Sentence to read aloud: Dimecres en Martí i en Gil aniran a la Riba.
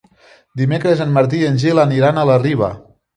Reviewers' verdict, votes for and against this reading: accepted, 3, 0